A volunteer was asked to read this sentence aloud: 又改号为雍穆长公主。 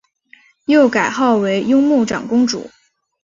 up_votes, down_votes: 5, 0